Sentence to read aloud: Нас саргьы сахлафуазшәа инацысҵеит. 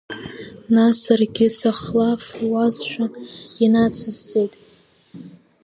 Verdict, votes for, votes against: accepted, 2, 1